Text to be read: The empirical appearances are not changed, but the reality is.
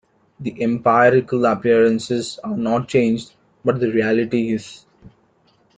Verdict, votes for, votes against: rejected, 1, 2